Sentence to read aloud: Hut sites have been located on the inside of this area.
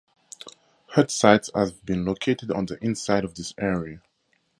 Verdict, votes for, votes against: accepted, 2, 0